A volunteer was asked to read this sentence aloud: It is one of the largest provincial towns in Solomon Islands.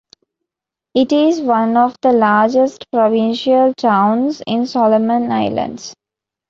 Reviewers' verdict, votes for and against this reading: accepted, 2, 0